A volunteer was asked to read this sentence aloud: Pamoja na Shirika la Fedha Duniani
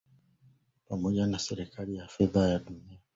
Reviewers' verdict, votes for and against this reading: rejected, 2, 3